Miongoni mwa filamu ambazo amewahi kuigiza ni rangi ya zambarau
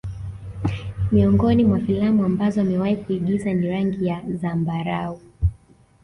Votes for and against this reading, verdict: 2, 1, accepted